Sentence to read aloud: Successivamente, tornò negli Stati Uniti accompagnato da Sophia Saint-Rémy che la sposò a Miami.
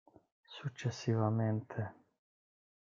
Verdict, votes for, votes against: rejected, 0, 2